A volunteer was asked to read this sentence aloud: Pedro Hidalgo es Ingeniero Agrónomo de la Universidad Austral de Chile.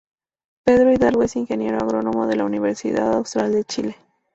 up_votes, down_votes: 2, 0